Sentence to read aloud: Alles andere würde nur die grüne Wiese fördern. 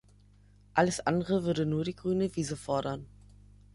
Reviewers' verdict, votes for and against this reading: rejected, 1, 2